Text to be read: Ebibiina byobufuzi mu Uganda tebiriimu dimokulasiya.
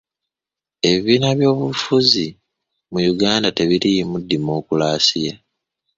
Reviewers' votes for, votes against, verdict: 2, 0, accepted